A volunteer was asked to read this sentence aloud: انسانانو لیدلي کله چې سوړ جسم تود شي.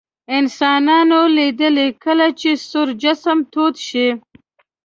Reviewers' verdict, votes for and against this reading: rejected, 0, 2